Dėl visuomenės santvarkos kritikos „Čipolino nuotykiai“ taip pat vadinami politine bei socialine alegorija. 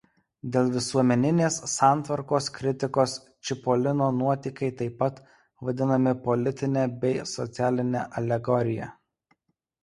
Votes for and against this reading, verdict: 1, 2, rejected